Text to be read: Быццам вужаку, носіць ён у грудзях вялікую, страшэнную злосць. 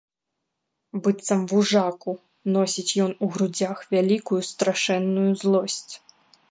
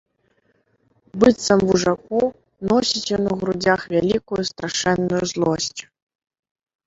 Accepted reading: first